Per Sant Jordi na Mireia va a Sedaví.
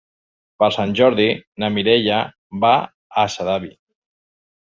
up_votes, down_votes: 3, 0